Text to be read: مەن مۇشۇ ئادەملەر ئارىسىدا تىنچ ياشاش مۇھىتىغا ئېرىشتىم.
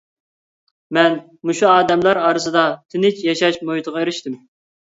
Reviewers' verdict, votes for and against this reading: accepted, 2, 0